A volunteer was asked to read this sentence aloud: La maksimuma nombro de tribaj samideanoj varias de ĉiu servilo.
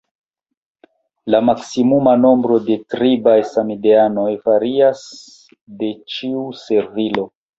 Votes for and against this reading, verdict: 1, 2, rejected